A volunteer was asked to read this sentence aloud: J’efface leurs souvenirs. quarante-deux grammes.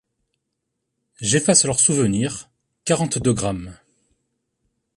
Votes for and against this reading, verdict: 2, 0, accepted